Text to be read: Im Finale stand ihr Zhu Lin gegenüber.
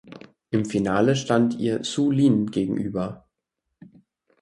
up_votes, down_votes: 4, 0